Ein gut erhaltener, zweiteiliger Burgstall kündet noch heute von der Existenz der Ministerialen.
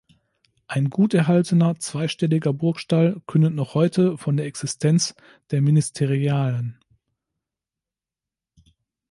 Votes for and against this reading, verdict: 0, 2, rejected